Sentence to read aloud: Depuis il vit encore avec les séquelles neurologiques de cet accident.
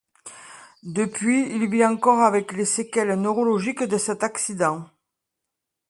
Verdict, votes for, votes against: accepted, 2, 0